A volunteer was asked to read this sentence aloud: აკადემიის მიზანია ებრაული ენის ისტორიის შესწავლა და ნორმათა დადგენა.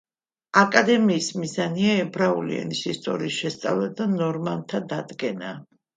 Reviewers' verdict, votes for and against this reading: accepted, 2, 1